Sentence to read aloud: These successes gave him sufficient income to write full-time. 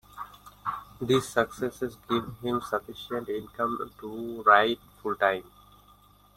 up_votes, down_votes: 1, 2